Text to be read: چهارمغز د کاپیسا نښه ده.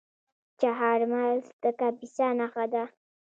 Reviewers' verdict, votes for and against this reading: accepted, 2, 1